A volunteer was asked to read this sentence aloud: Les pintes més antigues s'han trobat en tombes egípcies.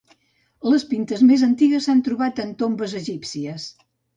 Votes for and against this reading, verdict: 2, 0, accepted